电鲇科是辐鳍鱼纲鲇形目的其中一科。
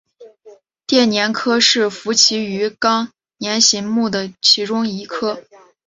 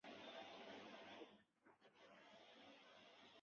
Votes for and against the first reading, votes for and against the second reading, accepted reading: 4, 0, 3, 4, first